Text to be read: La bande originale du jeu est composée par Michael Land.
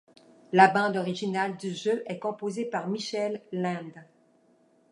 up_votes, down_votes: 1, 2